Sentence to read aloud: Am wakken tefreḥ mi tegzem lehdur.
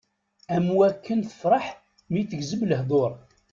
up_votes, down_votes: 2, 0